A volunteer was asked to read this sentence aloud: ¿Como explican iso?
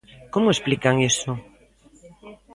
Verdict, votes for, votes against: accepted, 2, 0